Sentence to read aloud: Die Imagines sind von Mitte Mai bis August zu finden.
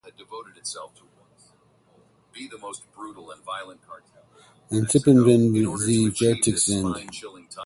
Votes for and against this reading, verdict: 0, 4, rejected